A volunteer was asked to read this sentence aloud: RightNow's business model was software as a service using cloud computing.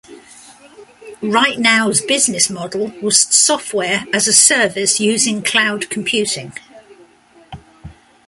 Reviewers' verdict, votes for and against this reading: accepted, 2, 0